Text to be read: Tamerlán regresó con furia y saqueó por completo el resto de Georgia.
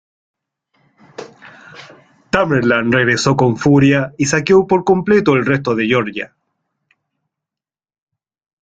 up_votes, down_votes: 1, 2